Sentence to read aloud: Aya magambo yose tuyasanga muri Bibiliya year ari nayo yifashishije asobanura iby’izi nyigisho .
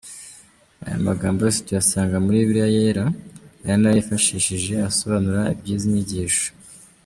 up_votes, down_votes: 1, 2